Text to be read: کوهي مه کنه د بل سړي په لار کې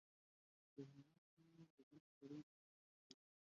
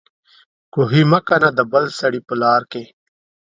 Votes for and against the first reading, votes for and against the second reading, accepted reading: 0, 2, 2, 0, second